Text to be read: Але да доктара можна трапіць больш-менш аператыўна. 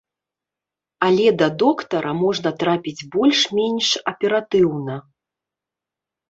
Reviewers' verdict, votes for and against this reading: accepted, 2, 0